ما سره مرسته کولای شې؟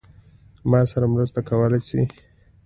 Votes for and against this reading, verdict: 2, 0, accepted